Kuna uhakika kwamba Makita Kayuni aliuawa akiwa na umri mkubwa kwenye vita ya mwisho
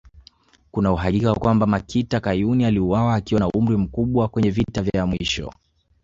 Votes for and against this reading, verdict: 2, 0, accepted